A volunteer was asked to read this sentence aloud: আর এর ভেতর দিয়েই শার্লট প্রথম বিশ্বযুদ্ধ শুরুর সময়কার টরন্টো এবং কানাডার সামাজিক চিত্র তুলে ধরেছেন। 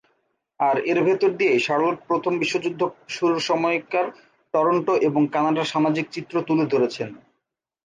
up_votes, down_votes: 2, 0